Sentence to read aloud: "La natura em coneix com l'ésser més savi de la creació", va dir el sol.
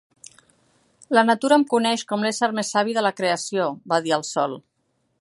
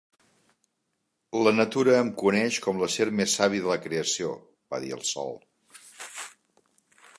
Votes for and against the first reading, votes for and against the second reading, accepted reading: 3, 0, 1, 3, first